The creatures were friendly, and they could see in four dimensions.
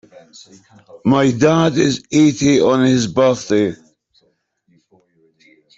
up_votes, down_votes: 0, 2